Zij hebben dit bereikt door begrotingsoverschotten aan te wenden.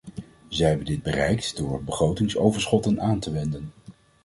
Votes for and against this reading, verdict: 2, 0, accepted